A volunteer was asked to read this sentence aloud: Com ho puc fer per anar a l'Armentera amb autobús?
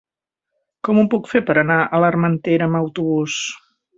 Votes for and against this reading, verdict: 2, 0, accepted